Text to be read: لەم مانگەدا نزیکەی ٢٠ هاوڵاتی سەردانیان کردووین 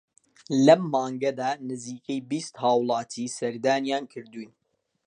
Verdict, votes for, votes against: rejected, 0, 2